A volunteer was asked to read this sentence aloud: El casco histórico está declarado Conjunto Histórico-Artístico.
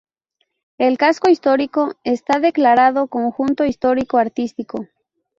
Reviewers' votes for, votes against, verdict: 2, 0, accepted